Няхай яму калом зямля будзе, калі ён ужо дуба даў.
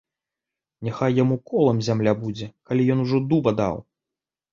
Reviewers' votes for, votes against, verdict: 0, 2, rejected